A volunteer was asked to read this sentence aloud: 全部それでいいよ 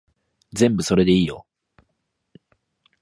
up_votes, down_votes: 8, 0